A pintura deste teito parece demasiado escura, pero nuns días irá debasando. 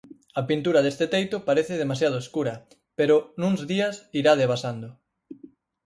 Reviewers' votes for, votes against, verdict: 4, 0, accepted